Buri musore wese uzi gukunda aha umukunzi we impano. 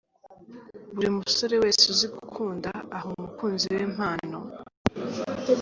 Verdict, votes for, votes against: accepted, 3, 0